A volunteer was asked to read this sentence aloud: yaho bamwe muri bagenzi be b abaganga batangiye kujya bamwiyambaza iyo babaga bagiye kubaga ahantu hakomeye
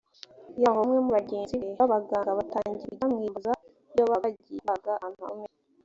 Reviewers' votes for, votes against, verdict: 0, 2, rejected